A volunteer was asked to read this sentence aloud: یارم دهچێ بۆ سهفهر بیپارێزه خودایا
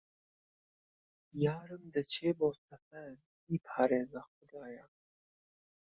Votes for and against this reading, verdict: 1, 2, rejected